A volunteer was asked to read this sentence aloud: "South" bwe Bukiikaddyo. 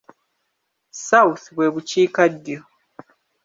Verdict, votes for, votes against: rejected, 1, 2